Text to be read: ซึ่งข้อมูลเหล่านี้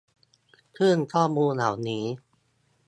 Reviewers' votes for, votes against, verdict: 2, 0, accepted